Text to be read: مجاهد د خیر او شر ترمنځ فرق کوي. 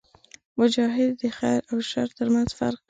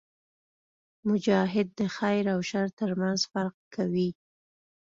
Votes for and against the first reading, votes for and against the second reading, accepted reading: 1, 2, 2, 0, second